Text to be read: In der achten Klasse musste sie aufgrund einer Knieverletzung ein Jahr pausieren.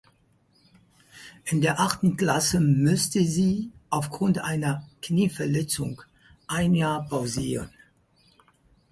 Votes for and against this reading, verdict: 0, 4, rejected